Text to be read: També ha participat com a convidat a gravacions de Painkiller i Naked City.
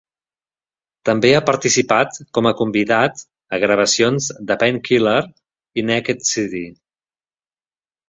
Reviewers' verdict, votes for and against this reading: accepted, 2, 0